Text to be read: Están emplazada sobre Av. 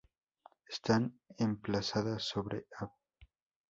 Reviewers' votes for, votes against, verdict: 2, 0, accepted